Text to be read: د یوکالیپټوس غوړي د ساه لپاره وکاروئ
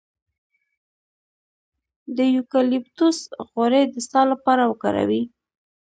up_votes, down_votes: 2, 0